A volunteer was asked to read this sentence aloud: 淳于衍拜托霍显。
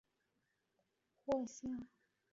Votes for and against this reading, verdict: 0, 3, rejected